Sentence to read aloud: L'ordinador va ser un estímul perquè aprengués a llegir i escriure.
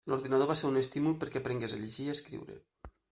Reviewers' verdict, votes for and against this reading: accepted, 2, 0